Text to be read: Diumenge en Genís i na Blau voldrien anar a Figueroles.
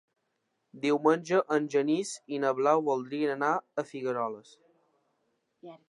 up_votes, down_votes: 3, 1